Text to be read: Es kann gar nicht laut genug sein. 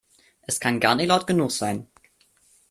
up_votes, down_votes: 1, 2